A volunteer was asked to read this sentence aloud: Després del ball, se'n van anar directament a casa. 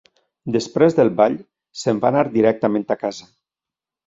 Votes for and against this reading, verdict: 1, 2, rejected